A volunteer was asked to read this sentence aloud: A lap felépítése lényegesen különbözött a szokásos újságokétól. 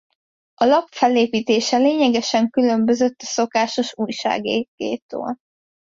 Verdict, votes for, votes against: rejected, 0, 2